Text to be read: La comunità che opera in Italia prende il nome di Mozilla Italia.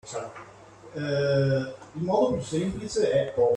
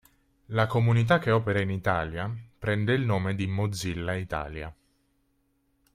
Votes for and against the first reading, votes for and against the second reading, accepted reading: 0, 2, 2, 0, second